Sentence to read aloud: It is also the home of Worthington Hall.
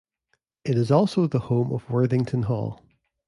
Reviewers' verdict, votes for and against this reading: accepted, 2, 0